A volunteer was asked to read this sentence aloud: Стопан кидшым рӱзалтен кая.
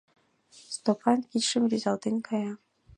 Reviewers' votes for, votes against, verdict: 2, 0, accepted